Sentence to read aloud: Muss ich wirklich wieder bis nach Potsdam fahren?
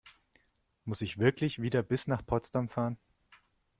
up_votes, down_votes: 2, 0